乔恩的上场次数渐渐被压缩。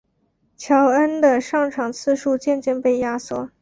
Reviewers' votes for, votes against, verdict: 3, 0, accepted